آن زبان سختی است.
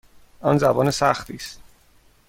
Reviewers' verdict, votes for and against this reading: accepted, 2, 0